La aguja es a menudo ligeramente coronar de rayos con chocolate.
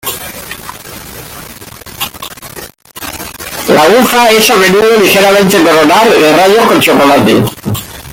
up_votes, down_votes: 1, 2